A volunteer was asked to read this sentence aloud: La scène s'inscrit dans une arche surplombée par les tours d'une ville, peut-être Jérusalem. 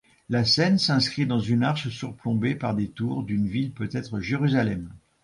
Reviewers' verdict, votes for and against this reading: rejected, 1, 2